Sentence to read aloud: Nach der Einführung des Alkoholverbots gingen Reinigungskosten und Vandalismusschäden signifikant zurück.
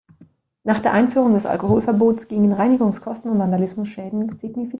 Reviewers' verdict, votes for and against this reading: rejected, 0, 2